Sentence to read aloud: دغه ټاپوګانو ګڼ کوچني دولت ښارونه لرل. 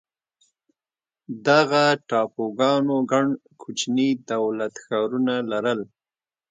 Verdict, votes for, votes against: accepted, 2, 0